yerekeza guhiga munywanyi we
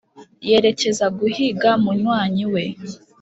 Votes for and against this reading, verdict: 5, 0, accepted